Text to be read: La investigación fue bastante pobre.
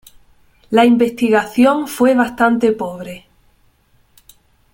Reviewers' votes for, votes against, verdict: 3, 1, accepted